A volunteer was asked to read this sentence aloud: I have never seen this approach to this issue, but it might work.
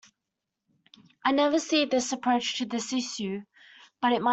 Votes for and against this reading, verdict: 0, 2, rejected